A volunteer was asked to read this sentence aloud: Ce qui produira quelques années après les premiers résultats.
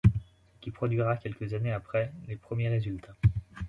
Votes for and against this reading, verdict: 0, 2, rejected